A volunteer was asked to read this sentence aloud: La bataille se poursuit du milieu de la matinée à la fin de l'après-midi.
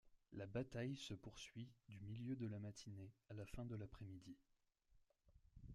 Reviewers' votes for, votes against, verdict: 1, 2, rejected